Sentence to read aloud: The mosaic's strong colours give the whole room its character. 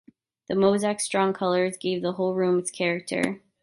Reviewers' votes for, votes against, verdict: 1, 2, rejected